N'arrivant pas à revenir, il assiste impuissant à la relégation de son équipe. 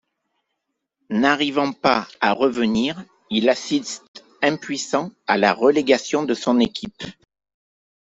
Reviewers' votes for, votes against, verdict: 2, 0, accepted